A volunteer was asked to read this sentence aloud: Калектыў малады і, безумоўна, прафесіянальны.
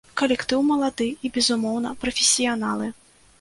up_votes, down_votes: 0, 2